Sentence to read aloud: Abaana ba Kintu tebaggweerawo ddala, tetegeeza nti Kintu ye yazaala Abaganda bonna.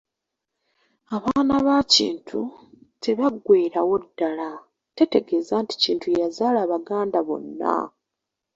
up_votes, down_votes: 1, 2